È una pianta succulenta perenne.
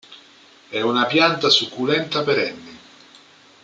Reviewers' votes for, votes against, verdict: 2, 0, accepted